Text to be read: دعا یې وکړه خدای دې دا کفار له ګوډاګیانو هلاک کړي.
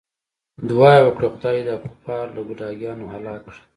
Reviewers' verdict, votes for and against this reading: accepted, 2, 0